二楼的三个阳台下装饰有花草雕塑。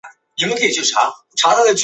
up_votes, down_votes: 1, 3